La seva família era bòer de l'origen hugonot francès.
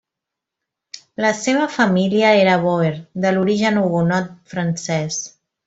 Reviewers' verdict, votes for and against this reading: accepted, 2, 0